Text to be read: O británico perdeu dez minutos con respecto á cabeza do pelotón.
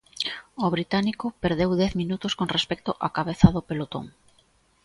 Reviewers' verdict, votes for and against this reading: accepted, 2, 0